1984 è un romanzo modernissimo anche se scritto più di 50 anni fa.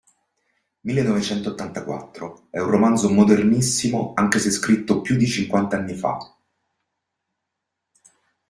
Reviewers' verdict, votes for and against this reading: rejected, 0, 2